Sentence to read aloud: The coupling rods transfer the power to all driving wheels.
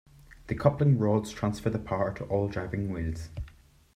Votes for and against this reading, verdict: 2, 0, accepted